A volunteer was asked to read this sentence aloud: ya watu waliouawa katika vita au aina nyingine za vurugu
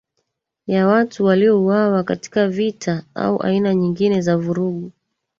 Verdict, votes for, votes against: rejected, 1, 2